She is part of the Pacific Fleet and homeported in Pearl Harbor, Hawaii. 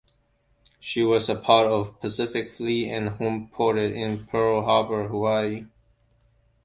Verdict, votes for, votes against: rejected, 0, 2